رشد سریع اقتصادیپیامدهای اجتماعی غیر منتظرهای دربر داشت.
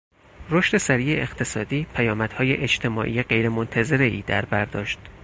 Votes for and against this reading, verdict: 4, 0, accepted